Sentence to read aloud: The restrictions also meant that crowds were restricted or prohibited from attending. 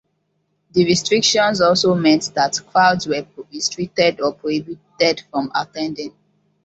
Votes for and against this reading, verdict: 1, 2, rejected